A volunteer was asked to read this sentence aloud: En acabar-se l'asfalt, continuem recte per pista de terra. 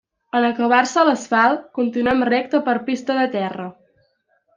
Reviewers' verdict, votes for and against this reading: accepted, 2, 0